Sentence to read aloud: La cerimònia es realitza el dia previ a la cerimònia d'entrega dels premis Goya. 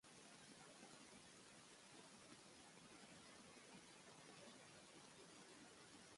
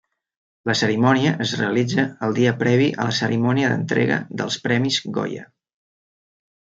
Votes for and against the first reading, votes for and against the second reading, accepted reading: 0, 2, 3, 0, second